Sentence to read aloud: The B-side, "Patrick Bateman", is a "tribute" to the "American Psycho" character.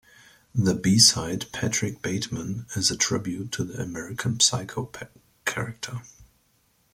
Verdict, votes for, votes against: accepted, 2, 0